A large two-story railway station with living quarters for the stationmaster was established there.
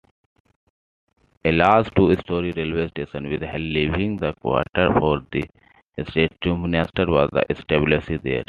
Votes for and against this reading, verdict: 0, 2, rejected